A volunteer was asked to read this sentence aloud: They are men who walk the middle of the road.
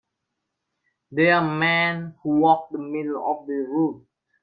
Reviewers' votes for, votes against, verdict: 0, 2, rejected